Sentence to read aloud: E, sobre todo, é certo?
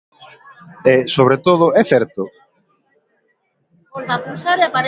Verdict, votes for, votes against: rejected, 0, 2